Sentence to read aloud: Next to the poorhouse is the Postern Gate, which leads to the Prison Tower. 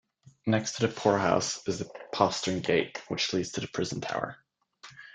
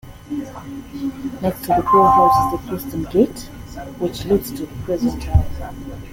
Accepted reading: first